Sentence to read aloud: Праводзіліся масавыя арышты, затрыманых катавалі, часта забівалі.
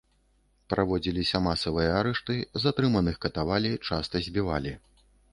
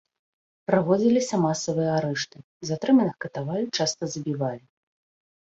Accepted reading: second